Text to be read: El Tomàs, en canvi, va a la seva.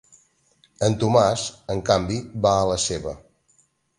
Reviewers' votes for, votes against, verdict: 0, 2, rejected